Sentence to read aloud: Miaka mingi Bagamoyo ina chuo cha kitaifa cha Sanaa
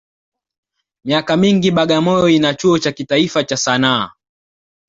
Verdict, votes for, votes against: accepted, 2, 0